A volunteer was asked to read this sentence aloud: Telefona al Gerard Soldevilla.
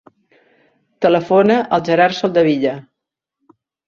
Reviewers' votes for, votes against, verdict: 3, 0, accepted